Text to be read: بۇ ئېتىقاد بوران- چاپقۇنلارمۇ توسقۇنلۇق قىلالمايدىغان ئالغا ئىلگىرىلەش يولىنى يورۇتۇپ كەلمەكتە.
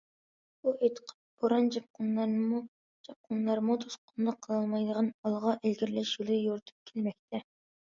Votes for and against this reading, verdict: 0, 2, rejected